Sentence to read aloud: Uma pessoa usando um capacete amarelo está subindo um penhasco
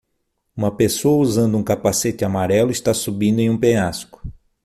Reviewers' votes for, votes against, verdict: 0, 6, rejected